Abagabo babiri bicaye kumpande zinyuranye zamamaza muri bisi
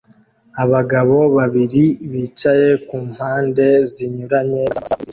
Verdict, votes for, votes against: rejected, 0, 2